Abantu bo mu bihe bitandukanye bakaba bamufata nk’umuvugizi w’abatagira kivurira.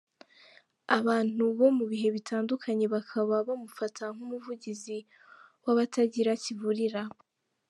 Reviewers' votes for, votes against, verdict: 2, 0, accepted